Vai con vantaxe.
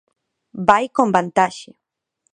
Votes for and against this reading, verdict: 2, 0, accepted